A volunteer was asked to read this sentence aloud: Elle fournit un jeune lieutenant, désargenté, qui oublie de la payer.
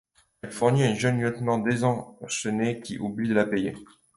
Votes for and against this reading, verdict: 0, 2, rejected